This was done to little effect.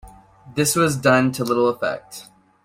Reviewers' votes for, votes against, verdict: 2, 0, accepted